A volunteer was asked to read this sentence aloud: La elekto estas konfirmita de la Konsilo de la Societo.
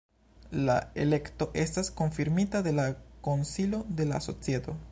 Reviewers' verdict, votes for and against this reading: accepted, 2, 0